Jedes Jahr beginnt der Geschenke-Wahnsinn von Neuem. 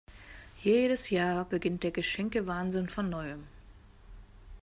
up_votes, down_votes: 2, 0